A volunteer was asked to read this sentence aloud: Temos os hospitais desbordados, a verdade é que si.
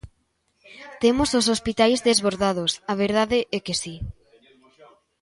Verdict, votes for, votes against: accepted, 2, 0